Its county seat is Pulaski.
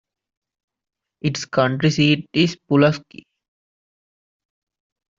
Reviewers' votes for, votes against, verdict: 0, 2, rejected